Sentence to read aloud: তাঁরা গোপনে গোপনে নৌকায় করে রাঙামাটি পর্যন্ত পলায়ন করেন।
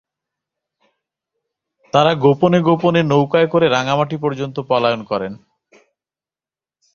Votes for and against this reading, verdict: 2, 0, accepted